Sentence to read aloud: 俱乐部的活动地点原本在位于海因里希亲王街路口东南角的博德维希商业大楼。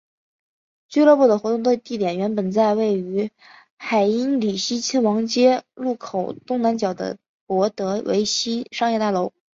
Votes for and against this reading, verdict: 2, 0, accepted